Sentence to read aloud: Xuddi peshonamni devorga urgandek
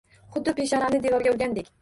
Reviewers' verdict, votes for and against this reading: rejected, 1, 2